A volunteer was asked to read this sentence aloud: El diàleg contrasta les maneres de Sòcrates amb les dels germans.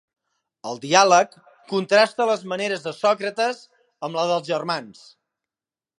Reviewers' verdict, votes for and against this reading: rejected, 1, 2